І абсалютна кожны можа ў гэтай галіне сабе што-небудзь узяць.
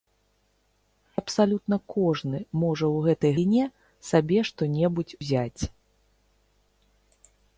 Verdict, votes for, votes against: rejected, 1, 3